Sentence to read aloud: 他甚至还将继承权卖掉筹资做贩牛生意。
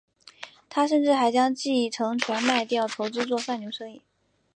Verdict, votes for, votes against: accepted, 2, 0